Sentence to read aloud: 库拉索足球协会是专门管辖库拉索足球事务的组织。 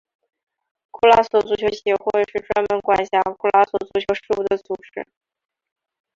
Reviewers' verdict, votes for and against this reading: accepted, 2, 1